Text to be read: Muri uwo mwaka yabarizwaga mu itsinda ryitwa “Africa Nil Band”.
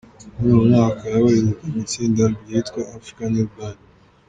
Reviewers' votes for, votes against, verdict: 2, 1, accepted